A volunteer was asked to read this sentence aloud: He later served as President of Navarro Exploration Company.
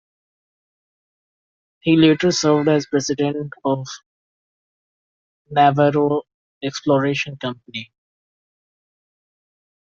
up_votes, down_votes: 2, 0